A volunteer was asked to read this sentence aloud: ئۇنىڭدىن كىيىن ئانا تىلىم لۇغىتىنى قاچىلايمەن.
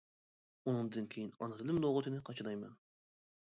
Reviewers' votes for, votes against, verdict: 1, 2, rejected